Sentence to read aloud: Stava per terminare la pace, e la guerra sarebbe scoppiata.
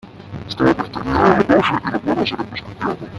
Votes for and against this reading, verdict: 0, 2, rejected